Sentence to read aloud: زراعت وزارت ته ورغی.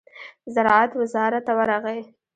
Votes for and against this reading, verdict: 1, 2, rejected